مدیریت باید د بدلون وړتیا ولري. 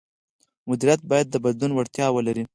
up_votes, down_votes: 2, 4